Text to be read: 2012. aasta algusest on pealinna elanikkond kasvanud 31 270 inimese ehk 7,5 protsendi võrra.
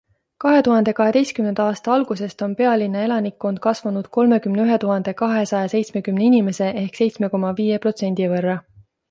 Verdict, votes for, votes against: rejected, 0, 2